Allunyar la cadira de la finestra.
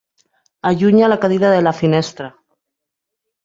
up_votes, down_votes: 1, 2